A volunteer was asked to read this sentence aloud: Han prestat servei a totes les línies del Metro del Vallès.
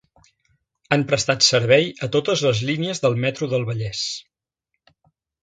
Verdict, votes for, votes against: accepted, 2, 0